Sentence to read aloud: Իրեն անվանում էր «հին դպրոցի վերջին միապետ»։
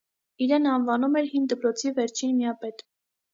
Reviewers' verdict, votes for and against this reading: accepted, 2, 0